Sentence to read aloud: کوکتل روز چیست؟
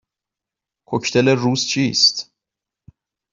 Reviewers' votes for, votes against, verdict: 2, 0, accepted